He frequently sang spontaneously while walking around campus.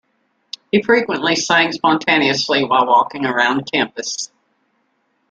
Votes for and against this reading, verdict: 1, 2, rejected